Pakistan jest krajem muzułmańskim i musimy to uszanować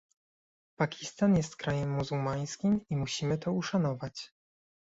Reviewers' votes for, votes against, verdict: 2, 0, accepted